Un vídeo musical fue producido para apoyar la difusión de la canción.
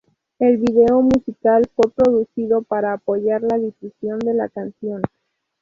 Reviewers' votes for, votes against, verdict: 0, 2, rejected